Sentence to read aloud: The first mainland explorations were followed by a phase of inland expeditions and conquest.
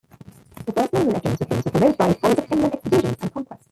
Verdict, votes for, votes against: rejected, 0, 2